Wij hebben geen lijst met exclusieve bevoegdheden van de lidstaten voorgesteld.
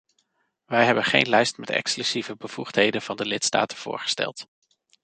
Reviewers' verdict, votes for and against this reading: rejected, 1, 2